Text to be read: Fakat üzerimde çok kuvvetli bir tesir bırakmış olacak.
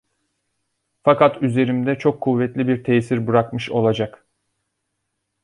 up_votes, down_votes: 2, 0